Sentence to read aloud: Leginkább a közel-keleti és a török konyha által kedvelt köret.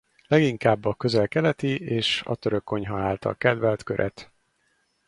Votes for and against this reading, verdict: 4, 0, accepted